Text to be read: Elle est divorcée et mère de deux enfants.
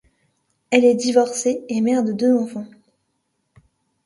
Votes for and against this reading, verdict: 2, 0, accepted